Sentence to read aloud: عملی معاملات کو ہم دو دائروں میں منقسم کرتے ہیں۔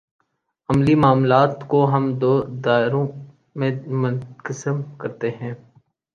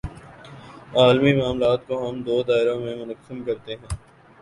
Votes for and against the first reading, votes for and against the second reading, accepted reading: 2, 0, 0, 2, first